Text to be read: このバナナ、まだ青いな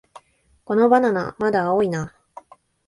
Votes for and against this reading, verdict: 2, 0, accepted